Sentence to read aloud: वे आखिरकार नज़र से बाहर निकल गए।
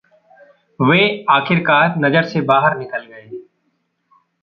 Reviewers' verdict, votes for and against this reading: rejected, 1, 2